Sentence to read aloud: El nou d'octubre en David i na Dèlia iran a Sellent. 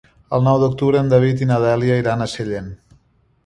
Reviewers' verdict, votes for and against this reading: accepted, 3, 0